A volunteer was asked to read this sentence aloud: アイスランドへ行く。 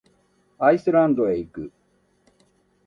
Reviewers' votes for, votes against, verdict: 3, 0, accepted